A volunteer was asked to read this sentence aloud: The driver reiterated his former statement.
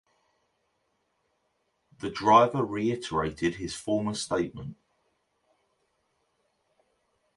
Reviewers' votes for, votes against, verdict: 2, 0, accepted